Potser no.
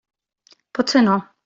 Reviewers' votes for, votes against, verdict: 3, 0, accepted